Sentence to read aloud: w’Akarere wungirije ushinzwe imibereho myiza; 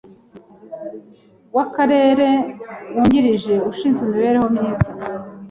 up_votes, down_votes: 2, 0